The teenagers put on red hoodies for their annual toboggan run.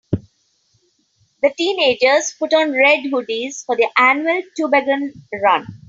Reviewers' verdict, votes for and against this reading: accepted, 3, 1